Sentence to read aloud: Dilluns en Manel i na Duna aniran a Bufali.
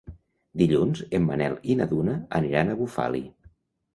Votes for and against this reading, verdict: 2, 0, accepted